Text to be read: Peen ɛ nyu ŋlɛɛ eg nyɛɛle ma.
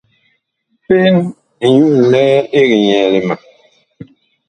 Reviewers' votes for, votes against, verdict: 1, 2, rejected